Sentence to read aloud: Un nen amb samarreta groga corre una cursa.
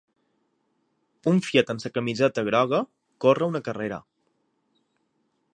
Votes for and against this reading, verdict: 0, 3, rejected